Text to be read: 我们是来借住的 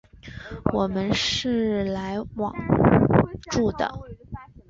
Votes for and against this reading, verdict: 0, 2, rejected